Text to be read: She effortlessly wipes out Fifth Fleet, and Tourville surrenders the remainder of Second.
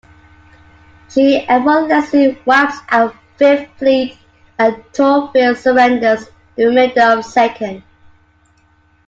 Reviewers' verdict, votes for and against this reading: rejected, 0, 2